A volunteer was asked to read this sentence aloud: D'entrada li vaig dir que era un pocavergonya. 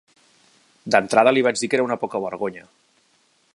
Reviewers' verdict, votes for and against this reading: rejected, 0, 2